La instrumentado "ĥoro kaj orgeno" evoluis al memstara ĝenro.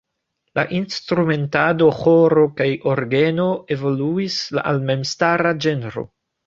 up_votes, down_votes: 2, 1